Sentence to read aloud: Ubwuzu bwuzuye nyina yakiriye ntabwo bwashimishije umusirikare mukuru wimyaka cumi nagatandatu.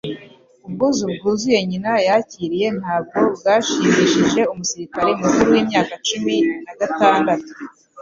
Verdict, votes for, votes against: accepted, 2, 0